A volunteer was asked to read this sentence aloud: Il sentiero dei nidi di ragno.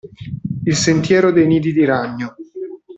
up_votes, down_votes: 2, 0